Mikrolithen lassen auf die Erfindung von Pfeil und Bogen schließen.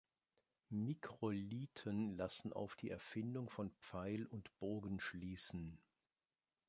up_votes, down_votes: 2, 0